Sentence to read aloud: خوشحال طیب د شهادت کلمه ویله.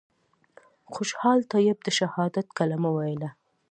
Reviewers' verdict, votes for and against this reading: accepted, 2, 0